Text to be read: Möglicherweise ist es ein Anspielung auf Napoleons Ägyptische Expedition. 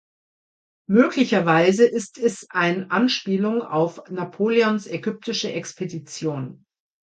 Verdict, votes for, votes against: accepted, 2, 0